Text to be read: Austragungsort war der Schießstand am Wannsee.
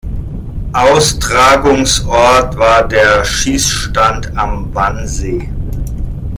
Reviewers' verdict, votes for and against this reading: accepted, 2, 1